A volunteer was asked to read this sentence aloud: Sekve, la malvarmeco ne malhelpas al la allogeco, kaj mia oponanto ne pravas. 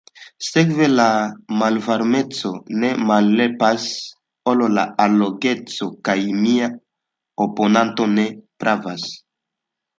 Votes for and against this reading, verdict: 1, 2, rejected